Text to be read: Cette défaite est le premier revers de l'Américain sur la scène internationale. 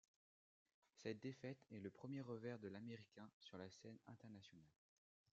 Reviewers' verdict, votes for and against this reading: rejected, 1, 2